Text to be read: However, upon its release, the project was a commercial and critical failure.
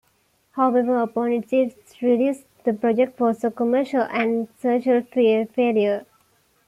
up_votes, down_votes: 2, 1